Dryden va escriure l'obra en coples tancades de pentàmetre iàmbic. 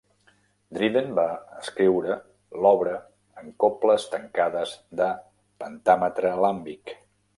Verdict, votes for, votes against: rejected, 0, 2